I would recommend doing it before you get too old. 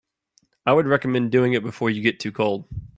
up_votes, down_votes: 2, 1